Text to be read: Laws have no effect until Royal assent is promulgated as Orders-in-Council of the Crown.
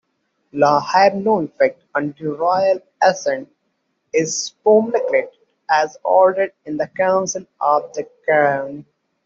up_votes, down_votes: 0, 2